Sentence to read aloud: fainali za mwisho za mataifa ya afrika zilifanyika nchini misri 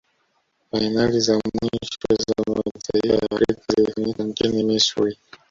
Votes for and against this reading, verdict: 0, 2, rejected